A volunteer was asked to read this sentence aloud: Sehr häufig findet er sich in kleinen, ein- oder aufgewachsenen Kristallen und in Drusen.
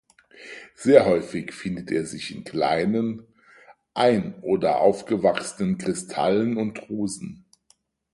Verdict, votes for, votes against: rejected, 0, 4